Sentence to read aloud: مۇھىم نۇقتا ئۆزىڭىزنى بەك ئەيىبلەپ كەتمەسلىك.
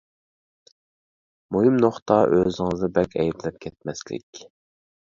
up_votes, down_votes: 2, 0